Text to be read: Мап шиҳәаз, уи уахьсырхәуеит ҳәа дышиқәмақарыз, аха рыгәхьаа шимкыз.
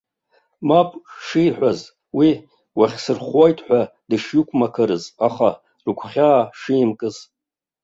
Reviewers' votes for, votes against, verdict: 2, 0, accepted